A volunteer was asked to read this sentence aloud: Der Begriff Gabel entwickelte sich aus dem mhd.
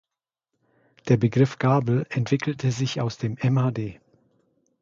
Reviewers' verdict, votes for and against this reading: accepted, 2, 0